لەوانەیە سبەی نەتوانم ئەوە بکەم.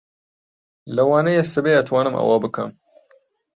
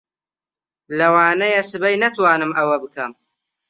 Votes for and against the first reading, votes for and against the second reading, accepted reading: 0, 2, 2, 0, second